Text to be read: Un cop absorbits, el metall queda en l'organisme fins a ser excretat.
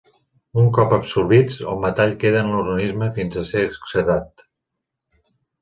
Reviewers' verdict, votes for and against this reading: rejected, 0, 2